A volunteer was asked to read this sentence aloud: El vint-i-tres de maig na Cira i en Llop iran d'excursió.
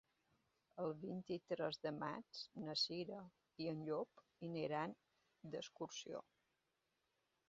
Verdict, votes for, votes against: rejected, 1, 2